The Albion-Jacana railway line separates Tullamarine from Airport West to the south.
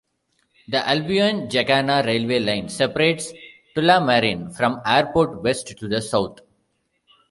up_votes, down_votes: 2, 0